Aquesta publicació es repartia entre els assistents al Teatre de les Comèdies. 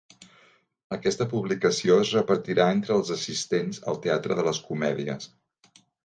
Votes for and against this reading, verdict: 1, 2, rejected